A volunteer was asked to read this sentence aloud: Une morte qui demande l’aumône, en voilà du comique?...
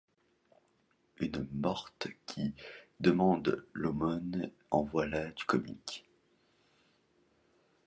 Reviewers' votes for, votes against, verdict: 2, 0, accepted